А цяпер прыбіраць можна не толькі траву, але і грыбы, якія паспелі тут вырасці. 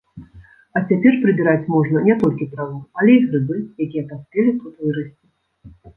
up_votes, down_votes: 1, 2